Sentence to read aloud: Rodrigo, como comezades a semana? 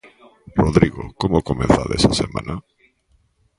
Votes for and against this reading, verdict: 2, 1, accepted